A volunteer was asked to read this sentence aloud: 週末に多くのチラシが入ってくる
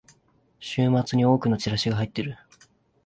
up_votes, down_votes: 0, 2